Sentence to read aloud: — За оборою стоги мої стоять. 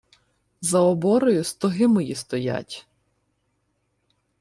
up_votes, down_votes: 2, 0